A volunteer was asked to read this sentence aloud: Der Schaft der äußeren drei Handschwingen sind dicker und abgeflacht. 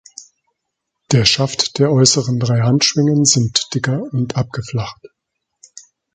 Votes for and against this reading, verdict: 2, 0, accepted